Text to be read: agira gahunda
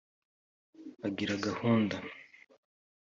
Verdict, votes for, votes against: accepted, 2, 0